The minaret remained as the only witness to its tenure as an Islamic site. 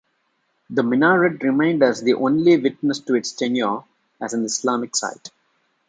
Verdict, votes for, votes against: accepted, 2, 0